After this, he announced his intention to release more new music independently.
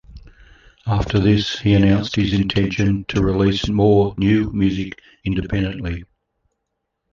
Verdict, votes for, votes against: rejected, 1, 2